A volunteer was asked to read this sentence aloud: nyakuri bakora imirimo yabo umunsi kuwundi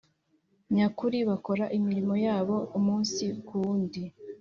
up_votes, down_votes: 5, 0